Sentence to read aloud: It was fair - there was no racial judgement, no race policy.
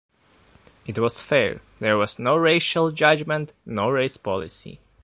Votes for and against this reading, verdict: 2, 1, accepted